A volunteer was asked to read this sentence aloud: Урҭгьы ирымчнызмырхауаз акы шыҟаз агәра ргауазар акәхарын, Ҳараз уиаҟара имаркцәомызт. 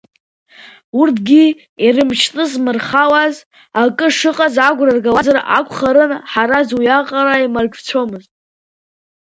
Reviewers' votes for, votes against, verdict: 1, 2, rejected